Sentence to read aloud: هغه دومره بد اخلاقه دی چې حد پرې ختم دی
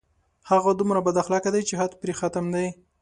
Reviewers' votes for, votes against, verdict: 2, 0, accepted